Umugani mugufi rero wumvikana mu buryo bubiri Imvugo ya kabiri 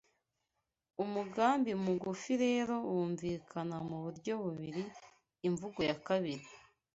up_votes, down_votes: 1, 2